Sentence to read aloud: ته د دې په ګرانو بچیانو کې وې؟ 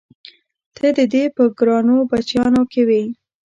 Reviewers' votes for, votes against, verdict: 1, 2, rejected